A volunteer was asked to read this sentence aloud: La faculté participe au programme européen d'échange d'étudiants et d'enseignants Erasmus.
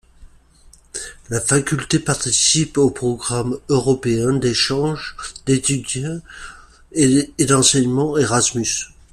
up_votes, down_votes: 1, 2